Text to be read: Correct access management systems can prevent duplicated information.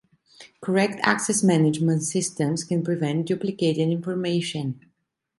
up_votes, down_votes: 2, 0